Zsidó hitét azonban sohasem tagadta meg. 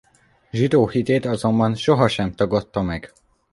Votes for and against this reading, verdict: 2, 0, accepted